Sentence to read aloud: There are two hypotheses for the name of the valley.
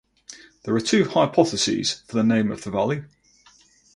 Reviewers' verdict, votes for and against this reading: accepted, 4, 0